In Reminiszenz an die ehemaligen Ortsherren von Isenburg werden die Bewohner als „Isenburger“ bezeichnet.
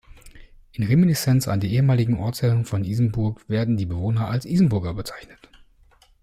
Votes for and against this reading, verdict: 2, 0, accepted